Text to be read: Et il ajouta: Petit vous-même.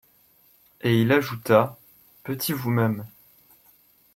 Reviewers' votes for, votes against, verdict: 3, 0, accepted